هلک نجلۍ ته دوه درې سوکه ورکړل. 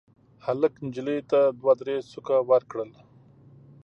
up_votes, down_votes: 2, 0